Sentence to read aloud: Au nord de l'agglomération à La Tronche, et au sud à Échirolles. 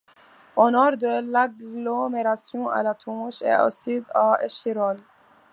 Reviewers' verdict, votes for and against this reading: accepted, 2, 0